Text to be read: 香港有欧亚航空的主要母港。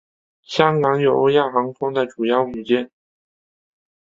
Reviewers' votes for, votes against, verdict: 1, 4, rejected